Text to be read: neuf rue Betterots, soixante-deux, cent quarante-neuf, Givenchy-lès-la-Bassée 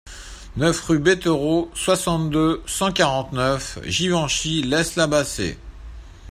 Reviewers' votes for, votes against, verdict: 2, 0, accepted